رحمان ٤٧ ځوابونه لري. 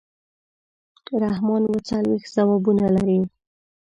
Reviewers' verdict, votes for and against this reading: rejected, 0, 2